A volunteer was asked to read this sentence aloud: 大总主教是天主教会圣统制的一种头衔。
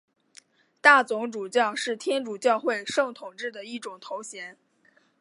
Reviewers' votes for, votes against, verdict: 2, 1, accepted